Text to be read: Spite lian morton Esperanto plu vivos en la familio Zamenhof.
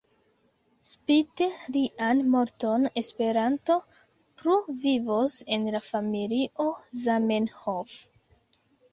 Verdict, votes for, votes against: rejected, 1, 2